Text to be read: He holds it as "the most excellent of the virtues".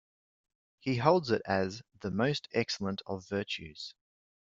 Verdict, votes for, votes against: rejected, 1, 2